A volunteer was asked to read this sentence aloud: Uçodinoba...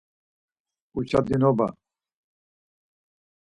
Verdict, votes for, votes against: accepted, 4, 2